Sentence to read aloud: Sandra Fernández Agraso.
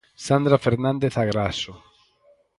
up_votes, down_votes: 4, 0